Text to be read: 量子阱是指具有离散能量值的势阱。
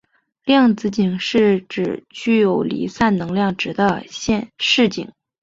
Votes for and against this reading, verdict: 0, 2, rejected